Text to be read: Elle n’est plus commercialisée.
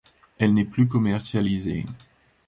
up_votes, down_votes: 2, 0